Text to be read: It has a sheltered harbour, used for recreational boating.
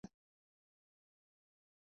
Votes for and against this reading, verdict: 0, 2, rejected